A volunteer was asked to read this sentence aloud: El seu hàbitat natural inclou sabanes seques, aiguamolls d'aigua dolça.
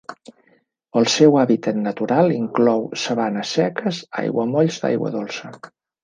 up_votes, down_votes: 3, 0